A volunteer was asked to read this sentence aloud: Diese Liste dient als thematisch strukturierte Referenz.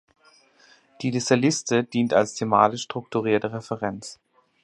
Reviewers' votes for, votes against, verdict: 2, 4, rejected